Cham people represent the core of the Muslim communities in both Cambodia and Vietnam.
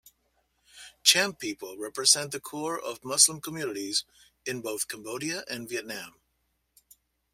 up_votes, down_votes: 0, 2